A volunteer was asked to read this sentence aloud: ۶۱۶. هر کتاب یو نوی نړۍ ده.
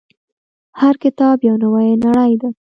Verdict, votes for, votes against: rejected, 0, 2